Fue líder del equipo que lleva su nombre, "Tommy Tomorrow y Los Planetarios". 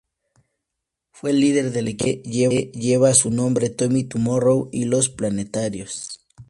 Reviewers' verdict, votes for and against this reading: rejected, 2, 2